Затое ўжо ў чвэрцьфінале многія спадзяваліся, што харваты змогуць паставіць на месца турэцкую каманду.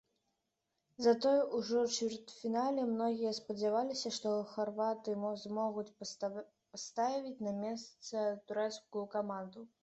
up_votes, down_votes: 0, 2